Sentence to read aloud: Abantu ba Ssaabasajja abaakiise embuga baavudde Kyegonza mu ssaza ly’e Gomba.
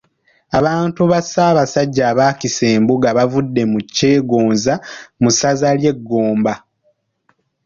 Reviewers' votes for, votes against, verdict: 0, 2, rejected